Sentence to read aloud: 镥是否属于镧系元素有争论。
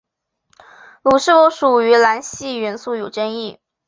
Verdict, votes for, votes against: rejected, 3, 4